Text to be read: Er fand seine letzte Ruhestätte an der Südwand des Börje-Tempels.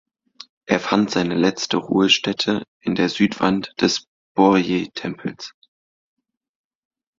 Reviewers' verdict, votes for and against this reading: rejected, 1, 2